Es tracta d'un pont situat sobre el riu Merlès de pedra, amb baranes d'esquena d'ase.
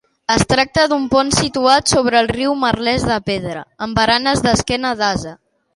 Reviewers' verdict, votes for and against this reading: accepted, 2, 0